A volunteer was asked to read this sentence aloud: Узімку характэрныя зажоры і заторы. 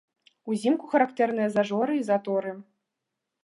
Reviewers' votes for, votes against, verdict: 2, 0, accepted